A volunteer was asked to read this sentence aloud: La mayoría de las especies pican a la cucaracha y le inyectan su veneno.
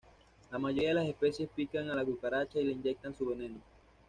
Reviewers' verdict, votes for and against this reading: rejected, 1, 2